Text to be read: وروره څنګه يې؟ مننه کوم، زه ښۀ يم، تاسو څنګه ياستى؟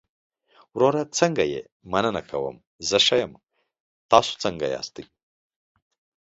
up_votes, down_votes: 2, 0